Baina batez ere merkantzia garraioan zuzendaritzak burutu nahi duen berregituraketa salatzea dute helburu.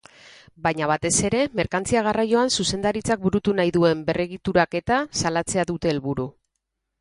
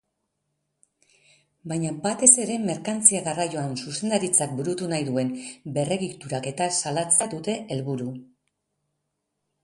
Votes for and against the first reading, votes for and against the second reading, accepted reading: 6, 0, 0, 2, first